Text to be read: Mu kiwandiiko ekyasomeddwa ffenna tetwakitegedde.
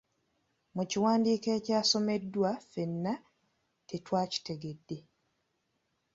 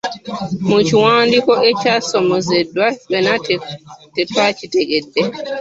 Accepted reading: first